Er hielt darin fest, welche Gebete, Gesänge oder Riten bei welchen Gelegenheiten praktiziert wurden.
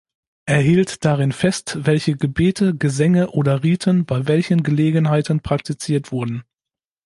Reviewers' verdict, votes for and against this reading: accepted, 2, 0